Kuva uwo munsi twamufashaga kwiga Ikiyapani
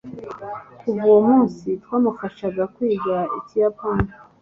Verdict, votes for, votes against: accepted, 2, 0